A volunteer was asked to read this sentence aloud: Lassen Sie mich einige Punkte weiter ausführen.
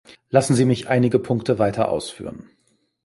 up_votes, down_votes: 2, 0